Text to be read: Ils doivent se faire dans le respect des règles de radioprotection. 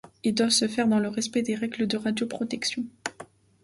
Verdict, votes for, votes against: accepted, 2, 0